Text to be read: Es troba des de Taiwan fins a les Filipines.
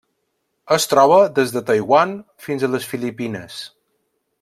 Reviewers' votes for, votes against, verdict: 3, 0, accepted